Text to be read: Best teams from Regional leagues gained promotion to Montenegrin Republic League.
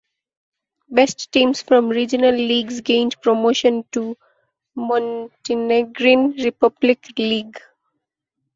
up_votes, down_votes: 2, 0